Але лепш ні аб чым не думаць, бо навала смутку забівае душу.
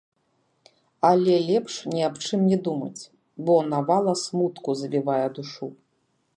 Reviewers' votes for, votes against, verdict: 2, 3, rejected